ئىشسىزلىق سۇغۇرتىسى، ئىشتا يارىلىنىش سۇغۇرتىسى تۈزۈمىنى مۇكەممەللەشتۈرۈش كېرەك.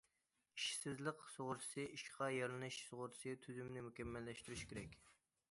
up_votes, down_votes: 1, 2